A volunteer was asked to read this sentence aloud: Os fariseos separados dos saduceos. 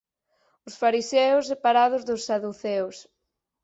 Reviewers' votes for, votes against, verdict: 4, 0, accepted